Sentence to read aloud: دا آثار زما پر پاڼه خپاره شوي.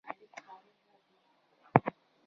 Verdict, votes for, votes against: rejected, 1, 2